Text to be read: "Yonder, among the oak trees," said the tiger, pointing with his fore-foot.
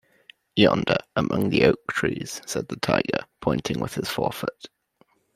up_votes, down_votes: 1, 2